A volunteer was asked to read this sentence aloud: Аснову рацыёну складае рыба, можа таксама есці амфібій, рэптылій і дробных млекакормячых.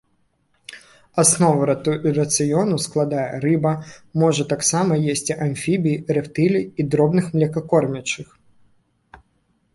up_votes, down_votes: 1, 2